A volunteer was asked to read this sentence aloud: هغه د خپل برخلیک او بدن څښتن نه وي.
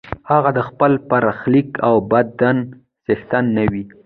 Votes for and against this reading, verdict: 0, 2, rejected